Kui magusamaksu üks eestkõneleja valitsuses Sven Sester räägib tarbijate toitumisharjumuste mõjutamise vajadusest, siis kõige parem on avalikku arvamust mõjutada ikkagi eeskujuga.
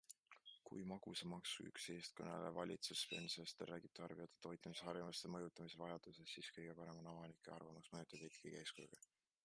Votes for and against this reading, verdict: 2, 1, accepted